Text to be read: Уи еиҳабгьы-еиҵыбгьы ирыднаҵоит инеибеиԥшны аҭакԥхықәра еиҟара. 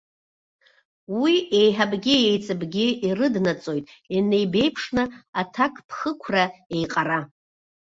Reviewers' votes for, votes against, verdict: 2, 0, accepted